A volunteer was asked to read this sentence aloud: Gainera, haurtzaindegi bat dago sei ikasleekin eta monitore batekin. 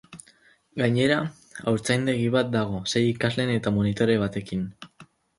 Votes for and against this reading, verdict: 0, 4, rejected